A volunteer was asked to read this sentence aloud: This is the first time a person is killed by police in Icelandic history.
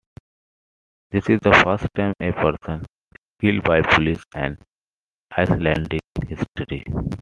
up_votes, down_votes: 1, 2